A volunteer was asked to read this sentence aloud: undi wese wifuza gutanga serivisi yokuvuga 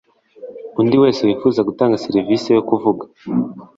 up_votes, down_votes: 2, 0